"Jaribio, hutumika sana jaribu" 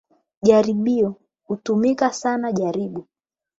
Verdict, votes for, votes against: accepted, 8, 4